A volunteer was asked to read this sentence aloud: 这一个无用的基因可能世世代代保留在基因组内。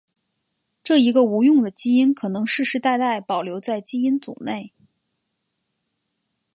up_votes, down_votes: 5, 1